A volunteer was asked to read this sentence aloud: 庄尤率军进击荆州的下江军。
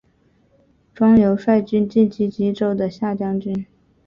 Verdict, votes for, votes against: accepted, 4, 0